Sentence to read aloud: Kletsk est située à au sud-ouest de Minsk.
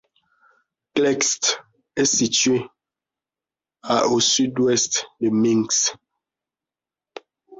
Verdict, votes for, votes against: rejected, 0, 2